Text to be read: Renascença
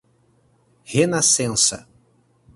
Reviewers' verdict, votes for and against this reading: accepted, 4, 0